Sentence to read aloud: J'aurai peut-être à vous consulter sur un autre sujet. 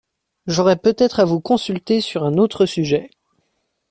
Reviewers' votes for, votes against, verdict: 2, 0, accepted